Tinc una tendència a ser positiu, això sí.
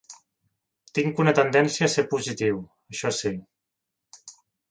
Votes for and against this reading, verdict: 2, 0, accepted